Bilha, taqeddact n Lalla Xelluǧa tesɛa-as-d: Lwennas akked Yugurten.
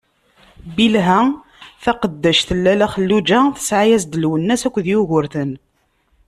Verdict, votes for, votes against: accepted, 2, 0